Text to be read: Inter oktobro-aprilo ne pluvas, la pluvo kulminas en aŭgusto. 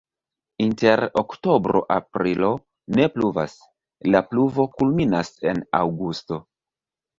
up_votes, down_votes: 2, 1